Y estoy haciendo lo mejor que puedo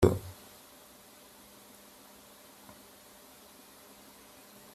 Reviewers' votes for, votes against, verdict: 0, 3, rejected